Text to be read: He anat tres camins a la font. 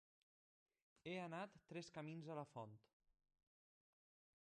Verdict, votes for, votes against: accepted, 3, 1